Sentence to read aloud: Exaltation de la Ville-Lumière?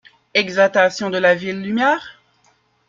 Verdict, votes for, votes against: rejected, 0, 2